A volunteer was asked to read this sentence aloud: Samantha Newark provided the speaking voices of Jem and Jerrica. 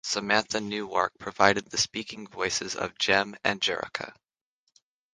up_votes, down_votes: 3, 0